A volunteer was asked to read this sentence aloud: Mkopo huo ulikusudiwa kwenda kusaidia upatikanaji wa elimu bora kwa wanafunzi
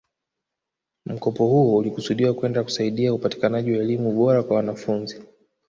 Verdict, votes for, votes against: accepted, 2, 0